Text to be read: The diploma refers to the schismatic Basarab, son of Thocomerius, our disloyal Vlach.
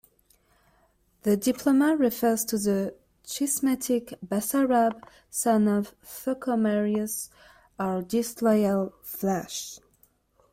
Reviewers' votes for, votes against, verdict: 2, 0, accepted